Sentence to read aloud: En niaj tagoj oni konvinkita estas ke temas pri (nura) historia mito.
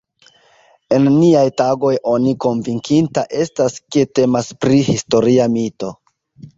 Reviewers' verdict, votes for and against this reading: rejected, 0, 2